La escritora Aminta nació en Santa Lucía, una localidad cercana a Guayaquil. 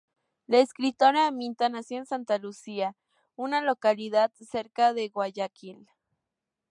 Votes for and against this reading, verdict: 2, 0, accepted